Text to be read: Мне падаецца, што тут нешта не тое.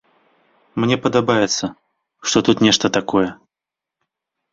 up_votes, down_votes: 0, 2